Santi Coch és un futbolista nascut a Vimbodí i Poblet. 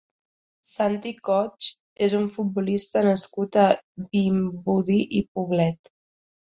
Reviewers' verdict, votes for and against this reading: rejected, 1, 2